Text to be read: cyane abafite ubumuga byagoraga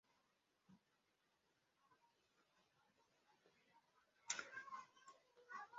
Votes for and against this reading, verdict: 1, 2, rejected